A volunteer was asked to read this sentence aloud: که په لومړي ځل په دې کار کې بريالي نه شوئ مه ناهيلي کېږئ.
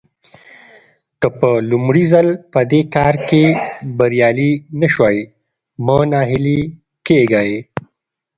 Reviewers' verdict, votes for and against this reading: accepted, 2, 0